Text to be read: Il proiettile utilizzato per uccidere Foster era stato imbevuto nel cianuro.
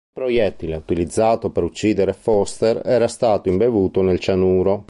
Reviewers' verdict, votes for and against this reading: rejected, 0, 2